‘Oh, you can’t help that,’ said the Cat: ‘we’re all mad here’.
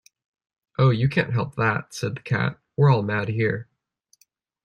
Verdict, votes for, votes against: accepted, 2, 1